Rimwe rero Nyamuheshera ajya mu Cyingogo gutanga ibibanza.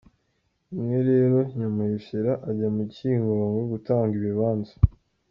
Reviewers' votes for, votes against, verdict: 2, 1, accepted